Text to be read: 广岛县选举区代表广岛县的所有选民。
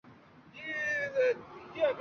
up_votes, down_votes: 0, 3